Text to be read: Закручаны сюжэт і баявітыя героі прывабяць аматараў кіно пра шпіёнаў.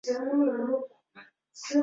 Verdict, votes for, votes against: rejected, 0, 2